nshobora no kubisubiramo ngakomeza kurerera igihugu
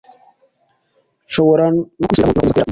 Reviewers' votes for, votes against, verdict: 1, 2, rejected